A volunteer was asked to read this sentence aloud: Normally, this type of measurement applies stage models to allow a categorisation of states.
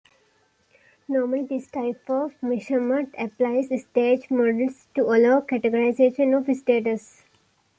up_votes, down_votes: 2, 1